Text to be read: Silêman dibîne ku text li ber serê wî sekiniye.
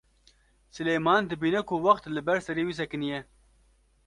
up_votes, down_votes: 0, 2